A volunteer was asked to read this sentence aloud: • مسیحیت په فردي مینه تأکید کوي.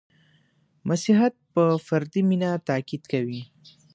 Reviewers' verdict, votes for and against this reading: accepted, 2, 0